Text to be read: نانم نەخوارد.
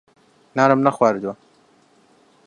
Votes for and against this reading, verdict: 0, 2, rejected